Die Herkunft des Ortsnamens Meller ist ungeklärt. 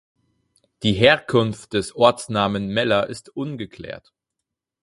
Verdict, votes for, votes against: rejected, 0, 4